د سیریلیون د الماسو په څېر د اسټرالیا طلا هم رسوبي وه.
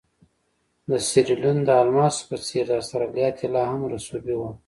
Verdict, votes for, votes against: accepted, 2, 0